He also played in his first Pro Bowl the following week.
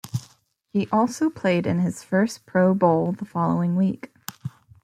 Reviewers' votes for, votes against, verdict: 2, 0, accepted